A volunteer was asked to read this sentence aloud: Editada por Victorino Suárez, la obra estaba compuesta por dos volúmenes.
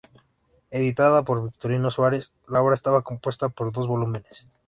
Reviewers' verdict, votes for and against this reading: accepted, 2, 0